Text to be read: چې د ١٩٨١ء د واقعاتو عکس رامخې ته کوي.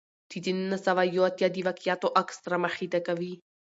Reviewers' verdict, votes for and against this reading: rejected, 0, 2